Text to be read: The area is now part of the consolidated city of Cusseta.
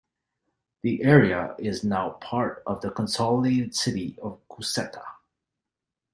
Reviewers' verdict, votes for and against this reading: rejected, 0, 2